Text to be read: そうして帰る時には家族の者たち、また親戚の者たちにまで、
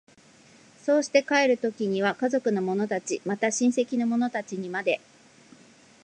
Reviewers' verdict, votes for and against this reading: accepted, 2, 0